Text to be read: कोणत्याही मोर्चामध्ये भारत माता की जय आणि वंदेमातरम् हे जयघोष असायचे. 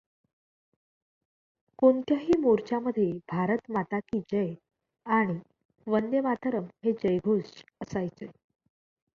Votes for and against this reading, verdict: 2, 0, accepted